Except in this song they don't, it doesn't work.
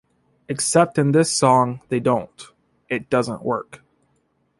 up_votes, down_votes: 2, 1